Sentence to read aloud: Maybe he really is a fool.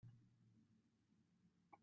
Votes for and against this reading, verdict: 0, 3, rejected